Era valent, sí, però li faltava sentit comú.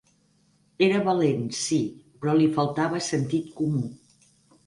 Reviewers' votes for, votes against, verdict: 0, 4, rejected